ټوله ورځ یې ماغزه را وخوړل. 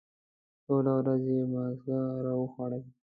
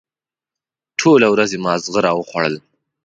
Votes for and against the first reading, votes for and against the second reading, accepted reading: 1, 2, 2, 0, second